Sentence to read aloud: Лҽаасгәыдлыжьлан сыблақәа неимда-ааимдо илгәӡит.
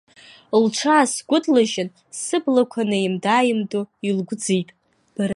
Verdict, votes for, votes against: rejected, 1, 2